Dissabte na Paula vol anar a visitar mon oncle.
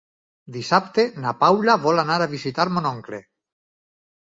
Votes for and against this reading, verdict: 6, 2, accepted